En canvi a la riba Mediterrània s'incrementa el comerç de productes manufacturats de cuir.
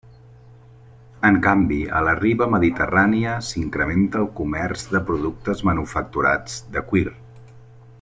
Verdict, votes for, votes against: accepted, 3, 0